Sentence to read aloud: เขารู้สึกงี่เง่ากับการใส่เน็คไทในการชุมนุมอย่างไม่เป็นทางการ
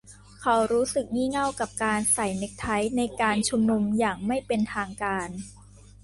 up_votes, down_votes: 2, 0